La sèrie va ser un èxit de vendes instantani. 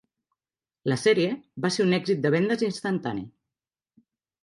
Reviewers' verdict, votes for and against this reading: rejected, 1, 2